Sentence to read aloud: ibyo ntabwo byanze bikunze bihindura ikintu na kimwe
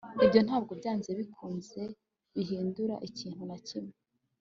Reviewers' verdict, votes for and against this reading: accepted, 2, 0